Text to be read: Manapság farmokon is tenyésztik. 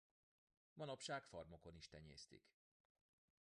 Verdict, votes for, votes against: rejected, 2, 3